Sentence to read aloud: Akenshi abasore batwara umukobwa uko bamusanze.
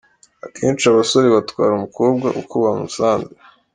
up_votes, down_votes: 2, 0